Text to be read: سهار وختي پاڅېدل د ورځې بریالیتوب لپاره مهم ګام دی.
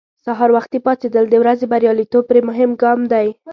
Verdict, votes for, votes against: rejected, 0, 2